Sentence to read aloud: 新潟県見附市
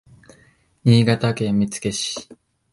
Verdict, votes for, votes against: accepted, 2, 0